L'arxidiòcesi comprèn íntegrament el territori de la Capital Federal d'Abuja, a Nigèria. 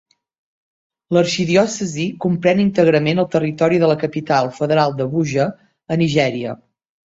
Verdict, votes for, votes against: accepted, 2, 0